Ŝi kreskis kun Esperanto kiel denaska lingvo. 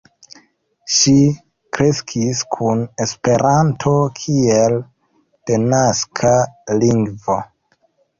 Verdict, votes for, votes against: accepted, 3, 1